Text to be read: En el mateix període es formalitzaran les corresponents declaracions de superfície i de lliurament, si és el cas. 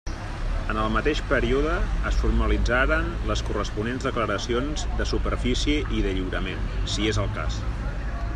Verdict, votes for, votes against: rejected, 1, 2